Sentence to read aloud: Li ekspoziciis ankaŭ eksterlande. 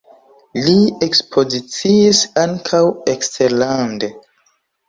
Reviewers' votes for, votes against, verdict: 0, 2, rejected